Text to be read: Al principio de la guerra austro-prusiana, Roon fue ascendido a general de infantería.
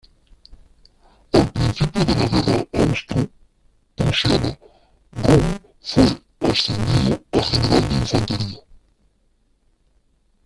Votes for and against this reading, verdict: 1, 2, rejected